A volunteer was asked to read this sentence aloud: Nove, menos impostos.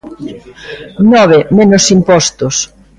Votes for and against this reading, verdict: 2, 0, accepted